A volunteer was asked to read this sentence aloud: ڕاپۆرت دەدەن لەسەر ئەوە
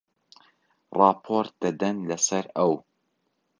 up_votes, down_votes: 0, 2